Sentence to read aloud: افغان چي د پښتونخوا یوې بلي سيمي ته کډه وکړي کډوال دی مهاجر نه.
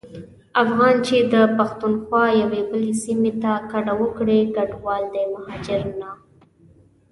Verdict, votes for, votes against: accepted, 2, 0